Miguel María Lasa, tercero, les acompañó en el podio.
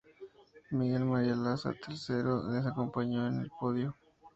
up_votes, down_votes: 4, 2